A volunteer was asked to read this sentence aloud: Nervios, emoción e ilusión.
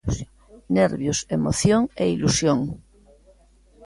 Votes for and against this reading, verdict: 1, 2, rejected